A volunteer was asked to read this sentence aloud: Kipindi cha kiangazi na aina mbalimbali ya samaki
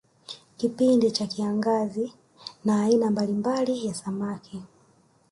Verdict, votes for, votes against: rejected, 1, 2